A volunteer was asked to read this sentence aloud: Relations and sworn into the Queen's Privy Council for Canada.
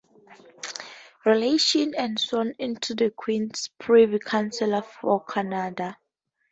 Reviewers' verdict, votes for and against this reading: accepted, 2, 0